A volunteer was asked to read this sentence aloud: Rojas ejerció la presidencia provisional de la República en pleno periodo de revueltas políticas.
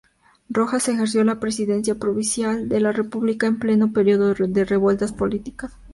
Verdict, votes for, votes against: rejected, 0, 2